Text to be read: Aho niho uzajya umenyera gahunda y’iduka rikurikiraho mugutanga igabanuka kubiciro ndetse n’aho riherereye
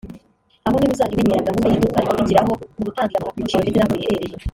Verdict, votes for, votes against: rejected, 1, 2